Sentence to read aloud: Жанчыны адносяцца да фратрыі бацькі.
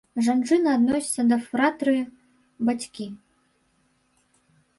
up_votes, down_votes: 0, 2